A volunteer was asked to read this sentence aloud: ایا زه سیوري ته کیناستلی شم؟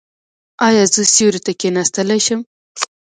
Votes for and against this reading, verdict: 2, 0, accepted